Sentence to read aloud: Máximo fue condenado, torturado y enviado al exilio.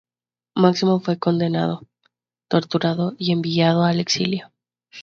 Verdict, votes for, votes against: accepted, 2, 0